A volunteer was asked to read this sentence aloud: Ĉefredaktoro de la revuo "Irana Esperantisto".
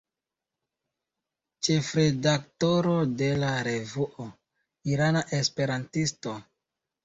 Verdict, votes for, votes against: rejected, 1, 2